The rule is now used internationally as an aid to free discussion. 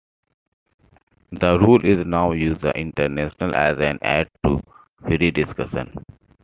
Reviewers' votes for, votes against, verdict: 1, 2, rejected